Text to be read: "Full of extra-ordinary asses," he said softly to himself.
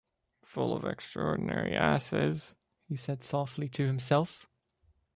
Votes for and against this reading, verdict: 2, 0, accepted